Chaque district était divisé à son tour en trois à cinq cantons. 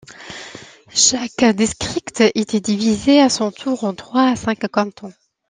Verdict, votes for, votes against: accepted, 2, 0